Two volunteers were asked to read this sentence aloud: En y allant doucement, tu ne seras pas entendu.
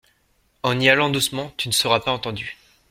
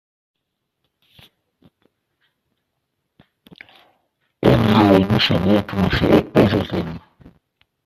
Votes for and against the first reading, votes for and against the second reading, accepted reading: 2, 0, 0, 2, first